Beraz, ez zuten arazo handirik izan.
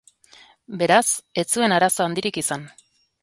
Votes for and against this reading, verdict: 1, 2, rejected